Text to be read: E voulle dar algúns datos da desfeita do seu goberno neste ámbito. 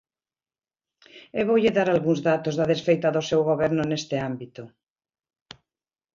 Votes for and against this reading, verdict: 22, 1, accepted